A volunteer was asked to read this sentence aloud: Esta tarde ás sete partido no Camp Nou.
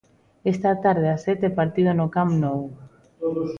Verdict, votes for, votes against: rejected, 1, 2